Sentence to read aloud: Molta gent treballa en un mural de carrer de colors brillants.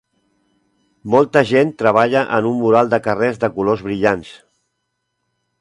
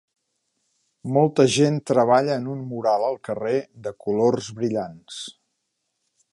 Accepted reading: first